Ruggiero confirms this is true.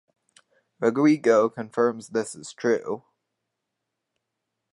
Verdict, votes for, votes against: rejected, 2, 2